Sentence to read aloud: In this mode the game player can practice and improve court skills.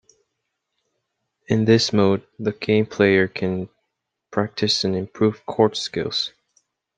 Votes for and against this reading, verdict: 2, 0, accepted